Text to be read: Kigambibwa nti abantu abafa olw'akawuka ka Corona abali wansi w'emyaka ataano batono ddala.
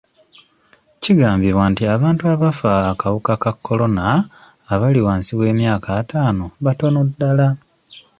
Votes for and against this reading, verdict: 1, 2, rejected